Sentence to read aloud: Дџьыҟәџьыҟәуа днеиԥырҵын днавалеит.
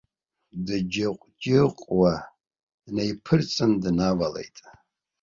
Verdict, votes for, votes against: rejected, 1, 2